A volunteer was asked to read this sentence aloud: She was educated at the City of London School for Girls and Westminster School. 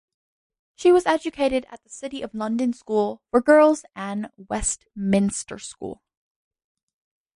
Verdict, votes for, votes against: accepted, 2, 0